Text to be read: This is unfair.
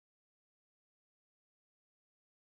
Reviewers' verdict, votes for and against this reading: rejected, 0, 4